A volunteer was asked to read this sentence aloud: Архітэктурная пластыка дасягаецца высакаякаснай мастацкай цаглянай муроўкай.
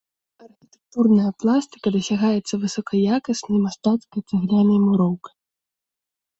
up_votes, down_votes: 1, 2